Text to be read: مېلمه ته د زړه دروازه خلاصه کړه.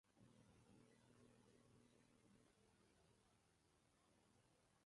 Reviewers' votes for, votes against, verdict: 1, 2, rejected